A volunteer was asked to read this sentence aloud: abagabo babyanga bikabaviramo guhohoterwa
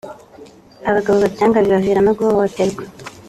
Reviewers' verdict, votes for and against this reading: rejected, 1, 2